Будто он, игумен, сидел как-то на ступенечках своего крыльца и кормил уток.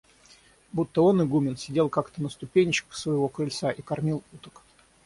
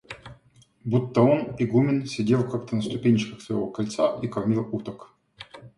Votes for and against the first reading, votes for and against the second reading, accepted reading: 3, 3, 2, 0, second